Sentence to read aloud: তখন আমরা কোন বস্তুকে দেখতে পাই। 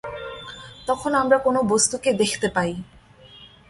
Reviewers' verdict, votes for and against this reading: accepted, 2, 0